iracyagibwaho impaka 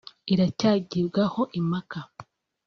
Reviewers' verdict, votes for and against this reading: accepted, 2, 0